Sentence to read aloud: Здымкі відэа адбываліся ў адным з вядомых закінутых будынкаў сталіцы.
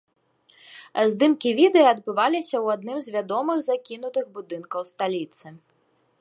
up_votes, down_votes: 2, 0